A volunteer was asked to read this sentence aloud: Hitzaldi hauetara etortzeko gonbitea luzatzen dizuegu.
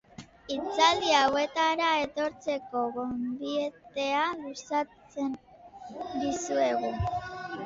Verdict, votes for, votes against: rejected, 1, 3